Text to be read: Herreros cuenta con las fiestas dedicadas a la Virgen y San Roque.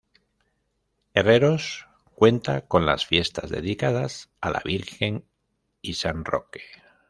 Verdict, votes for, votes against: rejected, 1, 2